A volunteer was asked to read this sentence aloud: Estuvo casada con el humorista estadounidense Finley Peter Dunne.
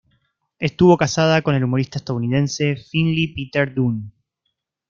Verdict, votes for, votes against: accepted, 2, 1